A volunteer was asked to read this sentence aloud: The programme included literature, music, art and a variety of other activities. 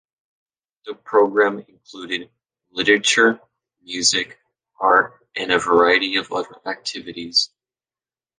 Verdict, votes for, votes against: accepted, 2, 1